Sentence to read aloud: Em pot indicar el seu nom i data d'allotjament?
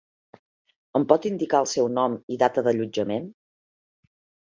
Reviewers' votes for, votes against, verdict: 4, 0, accepted